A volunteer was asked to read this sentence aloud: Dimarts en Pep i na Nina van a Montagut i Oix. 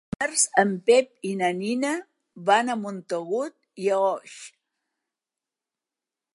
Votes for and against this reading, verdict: 3, 4, rejected